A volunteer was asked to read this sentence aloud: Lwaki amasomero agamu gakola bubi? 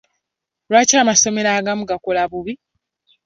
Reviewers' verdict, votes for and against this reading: accepted, 2, 0